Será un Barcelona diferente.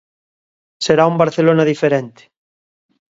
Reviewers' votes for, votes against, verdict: 2, 0, accepted